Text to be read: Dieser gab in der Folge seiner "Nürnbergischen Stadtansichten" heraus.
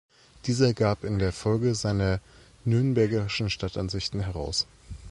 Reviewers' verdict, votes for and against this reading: rejected, 1, 2